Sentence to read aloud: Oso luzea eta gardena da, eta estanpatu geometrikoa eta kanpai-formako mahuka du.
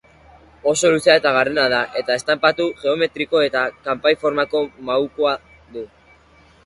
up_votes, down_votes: 0, 2